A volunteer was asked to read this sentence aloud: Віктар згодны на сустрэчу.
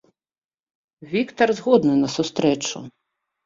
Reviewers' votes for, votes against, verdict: 2, 0, accepted